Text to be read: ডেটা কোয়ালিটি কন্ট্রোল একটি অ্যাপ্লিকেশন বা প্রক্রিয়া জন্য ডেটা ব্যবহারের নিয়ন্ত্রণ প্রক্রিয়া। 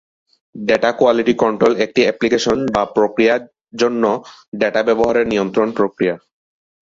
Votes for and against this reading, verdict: 2, 0, accepted